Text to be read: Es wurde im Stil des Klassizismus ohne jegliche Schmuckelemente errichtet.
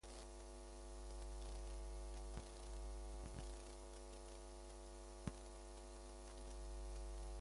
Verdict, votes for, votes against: rejected, 0, 2